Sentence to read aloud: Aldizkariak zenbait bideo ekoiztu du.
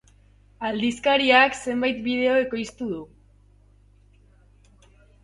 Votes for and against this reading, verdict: 3, 0, accepted